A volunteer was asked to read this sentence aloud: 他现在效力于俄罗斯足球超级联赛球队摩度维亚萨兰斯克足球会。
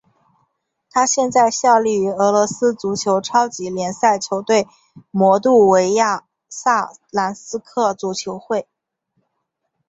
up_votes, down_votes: 7, 0